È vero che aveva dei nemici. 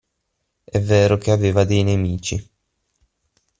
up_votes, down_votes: 6, 0